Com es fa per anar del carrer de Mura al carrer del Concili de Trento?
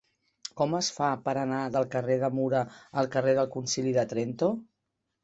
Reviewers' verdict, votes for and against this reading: accepted, 4, 0